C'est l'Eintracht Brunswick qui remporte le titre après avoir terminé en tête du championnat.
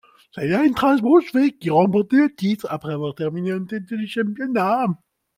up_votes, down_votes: 2, 1